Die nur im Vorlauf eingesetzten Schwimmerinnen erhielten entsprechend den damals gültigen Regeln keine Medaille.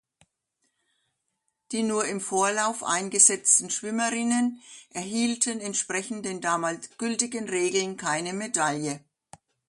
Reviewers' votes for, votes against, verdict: 2, 0, accepted